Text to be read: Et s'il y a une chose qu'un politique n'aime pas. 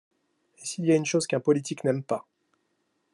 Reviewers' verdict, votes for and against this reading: accepted, 2, 0